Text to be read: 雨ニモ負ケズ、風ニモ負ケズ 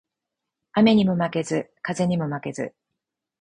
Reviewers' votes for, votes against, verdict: 4, 0, accepted